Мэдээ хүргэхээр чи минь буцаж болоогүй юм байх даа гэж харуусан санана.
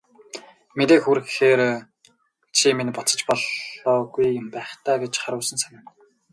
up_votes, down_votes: 2, 4